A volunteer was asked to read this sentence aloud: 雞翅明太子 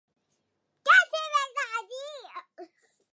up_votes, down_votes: 0, 2